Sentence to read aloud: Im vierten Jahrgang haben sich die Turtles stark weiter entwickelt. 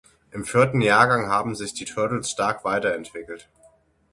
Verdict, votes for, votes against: accepted, 6, 0